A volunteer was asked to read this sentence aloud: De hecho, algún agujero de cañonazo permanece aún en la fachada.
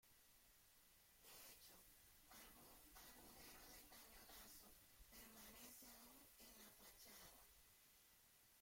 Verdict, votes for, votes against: rejected, 0, 2